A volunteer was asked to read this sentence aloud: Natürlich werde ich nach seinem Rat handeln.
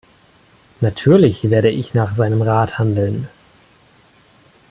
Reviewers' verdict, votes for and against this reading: accepted, 2, 0